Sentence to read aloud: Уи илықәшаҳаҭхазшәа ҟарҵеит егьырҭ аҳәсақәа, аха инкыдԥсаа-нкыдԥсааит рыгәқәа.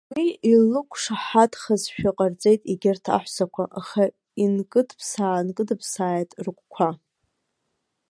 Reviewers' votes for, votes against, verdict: 1, 2, rejected